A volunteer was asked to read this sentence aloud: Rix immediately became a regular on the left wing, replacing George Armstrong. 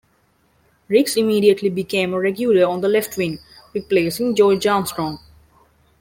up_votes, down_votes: 2, 0